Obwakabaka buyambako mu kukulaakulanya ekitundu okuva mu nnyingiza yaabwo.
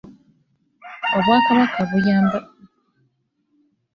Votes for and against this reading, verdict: 0, 2, rejected